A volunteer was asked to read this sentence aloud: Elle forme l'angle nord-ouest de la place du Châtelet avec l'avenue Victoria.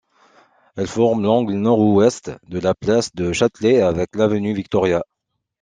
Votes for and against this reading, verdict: 2, 0, accepted